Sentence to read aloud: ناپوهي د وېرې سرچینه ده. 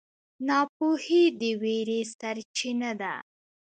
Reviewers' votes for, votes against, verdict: 1, 2, rejected